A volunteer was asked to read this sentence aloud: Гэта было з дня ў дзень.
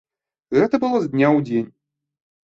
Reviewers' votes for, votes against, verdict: 2, 0, accepted